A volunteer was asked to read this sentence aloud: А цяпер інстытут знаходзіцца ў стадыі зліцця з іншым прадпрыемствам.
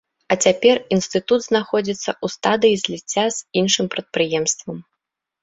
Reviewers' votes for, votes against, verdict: 2, 0, accepted